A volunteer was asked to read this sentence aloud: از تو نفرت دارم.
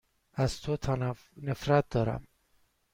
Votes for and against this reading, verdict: 1, 2, rejected